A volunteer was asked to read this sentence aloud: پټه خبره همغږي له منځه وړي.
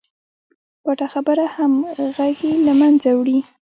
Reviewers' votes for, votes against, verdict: 2, 0, accepted